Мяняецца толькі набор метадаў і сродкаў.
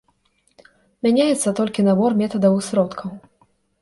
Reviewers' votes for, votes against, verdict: 2, 0, accepted